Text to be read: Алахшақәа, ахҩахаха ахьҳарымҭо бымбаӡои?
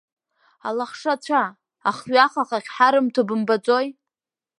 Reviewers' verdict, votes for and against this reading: rejected, 1, 2